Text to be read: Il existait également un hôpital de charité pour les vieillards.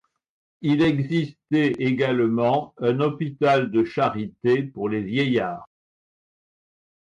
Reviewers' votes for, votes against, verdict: 2, 0, accepted